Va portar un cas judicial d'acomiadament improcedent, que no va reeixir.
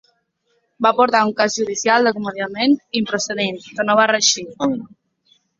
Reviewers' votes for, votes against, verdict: 0, 2, rejected